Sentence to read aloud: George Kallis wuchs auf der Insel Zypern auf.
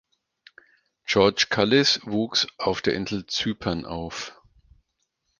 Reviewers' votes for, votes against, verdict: 4, 0, accepted